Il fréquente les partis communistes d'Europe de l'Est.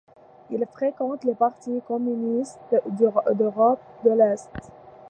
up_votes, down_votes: 1, 2